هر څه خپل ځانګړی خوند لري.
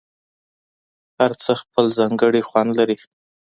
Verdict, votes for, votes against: accepted, 2, 0